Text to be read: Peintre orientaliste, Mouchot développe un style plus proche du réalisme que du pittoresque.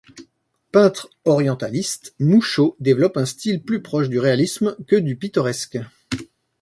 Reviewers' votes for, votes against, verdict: 2, 0, accepted